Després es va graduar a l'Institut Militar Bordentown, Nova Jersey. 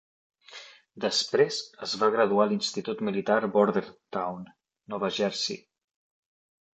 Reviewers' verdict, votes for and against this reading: rejected, 1, 2